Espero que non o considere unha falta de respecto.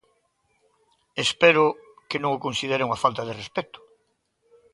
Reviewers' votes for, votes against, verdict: 2, 0, accepted